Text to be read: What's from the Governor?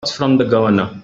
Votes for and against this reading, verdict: 0, 2, rejected